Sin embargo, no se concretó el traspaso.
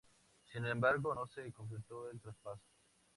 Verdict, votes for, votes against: accepted, 2, 0